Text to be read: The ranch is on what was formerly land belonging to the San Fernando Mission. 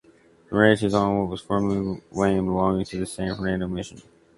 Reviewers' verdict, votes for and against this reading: rejected, 1, 2